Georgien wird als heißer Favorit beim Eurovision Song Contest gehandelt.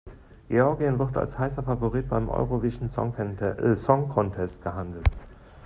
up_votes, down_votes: 0, 2